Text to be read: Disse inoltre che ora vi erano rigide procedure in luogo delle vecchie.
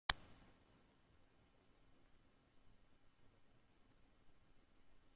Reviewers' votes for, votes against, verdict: 0, 2, rejected